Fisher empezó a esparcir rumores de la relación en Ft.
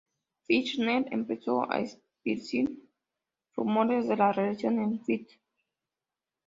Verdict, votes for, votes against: rejected, 0, 2